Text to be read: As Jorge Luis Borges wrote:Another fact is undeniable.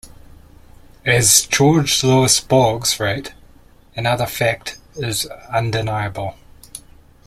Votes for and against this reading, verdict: 0, 2, rejected